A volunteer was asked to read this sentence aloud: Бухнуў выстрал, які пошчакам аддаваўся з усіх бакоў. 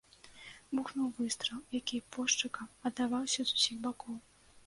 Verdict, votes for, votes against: accepted, 2, 0